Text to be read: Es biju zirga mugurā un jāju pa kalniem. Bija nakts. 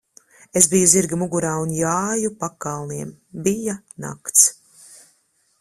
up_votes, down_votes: 2, 0